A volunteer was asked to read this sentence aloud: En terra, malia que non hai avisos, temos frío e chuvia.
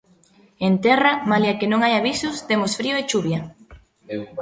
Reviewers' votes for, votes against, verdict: 2, 0, accepted